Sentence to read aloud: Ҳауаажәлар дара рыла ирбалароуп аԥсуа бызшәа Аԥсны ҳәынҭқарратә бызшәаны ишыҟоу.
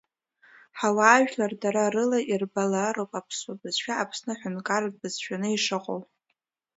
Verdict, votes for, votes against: accepted, 2, 1